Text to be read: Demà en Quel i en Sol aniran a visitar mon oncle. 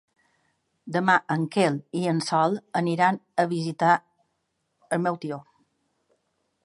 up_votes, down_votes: 0, 2